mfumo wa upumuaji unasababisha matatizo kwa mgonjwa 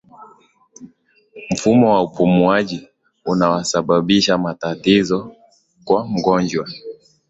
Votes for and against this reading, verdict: 2, 0, accepted